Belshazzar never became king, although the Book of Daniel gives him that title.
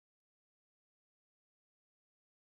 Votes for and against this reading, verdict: 1, 2, rejected